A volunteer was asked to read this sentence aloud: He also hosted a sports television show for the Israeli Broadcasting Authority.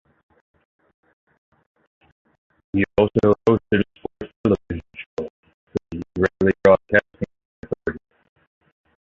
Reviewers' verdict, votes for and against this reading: rejected, 0, 2